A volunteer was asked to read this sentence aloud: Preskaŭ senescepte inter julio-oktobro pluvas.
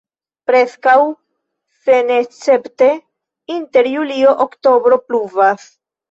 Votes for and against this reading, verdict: 0, 2, rejected